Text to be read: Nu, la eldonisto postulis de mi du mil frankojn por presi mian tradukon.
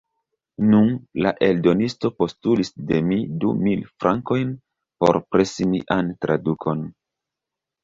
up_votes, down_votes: 1, 2